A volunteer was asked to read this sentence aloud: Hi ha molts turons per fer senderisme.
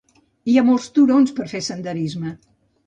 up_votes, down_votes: 2, 0